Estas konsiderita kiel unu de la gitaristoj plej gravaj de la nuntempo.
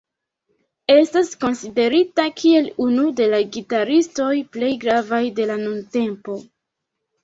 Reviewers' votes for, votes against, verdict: 2, 0, accepted